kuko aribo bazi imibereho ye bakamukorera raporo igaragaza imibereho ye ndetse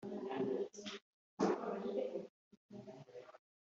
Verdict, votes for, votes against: rejected, 0, 2